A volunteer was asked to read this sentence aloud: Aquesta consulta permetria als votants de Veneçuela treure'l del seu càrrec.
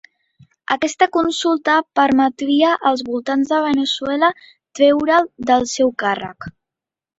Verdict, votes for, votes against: accepted, 2, 0